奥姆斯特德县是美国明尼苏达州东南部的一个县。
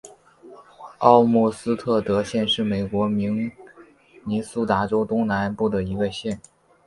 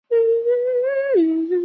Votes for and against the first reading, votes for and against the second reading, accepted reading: 4, 0, 0, 2, first